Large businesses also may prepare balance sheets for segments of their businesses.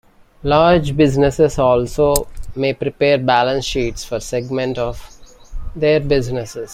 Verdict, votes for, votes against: rejected, 1, 2